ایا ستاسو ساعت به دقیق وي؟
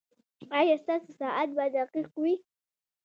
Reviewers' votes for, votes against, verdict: 0, 2, rejected